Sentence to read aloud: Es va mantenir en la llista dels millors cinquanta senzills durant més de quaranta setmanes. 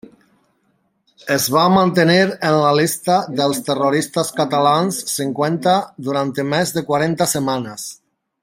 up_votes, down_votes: 0, 2